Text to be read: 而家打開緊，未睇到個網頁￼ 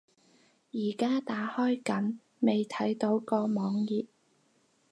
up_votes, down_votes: 2, 2